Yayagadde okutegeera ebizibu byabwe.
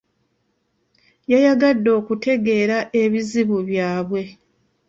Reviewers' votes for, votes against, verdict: 2, 0, accepted